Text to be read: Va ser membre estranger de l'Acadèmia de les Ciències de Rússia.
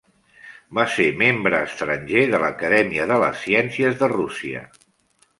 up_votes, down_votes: 2, 0